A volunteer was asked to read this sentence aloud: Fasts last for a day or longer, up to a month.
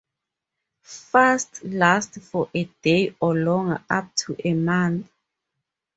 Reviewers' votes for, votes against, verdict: 0, 2, rejected